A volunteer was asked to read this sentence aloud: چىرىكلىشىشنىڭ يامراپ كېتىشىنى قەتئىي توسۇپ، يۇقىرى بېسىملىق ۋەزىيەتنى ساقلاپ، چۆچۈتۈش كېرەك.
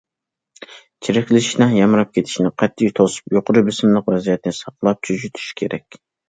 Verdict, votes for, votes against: accepted, 2, 0